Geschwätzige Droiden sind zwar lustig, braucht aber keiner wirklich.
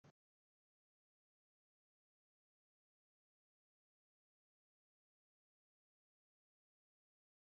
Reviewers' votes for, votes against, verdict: 0, 2, rejected